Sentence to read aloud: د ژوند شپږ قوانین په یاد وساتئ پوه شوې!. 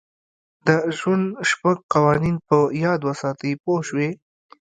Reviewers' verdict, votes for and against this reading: rejected, 0, 2